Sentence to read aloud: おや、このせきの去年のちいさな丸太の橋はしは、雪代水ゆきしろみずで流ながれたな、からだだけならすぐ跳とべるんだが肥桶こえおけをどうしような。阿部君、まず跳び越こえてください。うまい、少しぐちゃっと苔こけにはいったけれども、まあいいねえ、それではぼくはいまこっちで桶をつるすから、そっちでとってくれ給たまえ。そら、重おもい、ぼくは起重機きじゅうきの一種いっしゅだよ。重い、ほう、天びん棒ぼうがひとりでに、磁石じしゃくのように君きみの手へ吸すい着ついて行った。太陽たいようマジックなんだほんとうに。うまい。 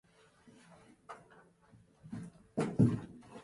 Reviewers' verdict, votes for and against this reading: rejected, 0, 2